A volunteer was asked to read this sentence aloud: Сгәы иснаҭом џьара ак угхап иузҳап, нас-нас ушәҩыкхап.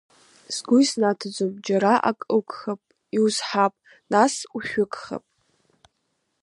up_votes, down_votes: 2, 1